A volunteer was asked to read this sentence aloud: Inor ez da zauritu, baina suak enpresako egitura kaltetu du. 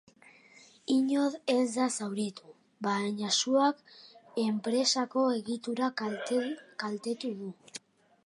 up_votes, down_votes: 2, 0